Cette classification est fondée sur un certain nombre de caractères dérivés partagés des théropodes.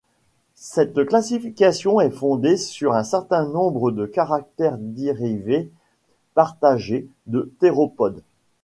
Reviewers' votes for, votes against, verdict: 2, 0, accepted